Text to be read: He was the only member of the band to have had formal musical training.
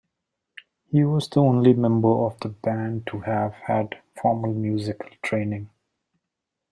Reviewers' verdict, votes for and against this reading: rejected, 0, 2